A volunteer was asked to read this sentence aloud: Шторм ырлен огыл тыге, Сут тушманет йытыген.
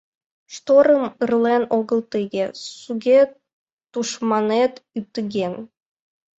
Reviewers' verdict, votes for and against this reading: rejected, 0, 2